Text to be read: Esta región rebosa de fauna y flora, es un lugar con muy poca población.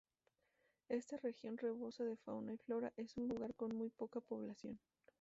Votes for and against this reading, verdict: 0, 2, rejected